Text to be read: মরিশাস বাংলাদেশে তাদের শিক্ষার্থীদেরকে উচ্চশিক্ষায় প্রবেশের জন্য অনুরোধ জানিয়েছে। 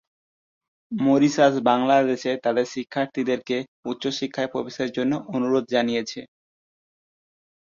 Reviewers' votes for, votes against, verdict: 7, 1, accepted